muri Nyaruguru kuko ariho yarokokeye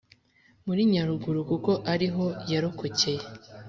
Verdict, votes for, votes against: accepted, 2, 0